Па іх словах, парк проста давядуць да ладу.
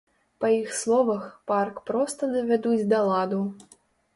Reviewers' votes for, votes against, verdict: 2, 0, accepted